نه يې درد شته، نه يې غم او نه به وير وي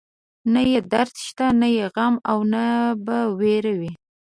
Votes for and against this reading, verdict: 2, 0, accepted